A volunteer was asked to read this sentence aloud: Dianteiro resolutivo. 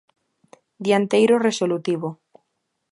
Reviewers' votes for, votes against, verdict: 2, 0, accepted